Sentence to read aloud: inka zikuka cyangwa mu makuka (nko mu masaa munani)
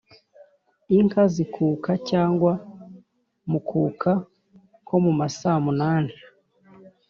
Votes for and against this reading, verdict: 0, 2, rejected